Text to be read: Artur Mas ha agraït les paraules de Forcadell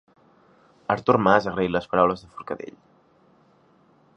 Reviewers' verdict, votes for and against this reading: rejected, 0, 3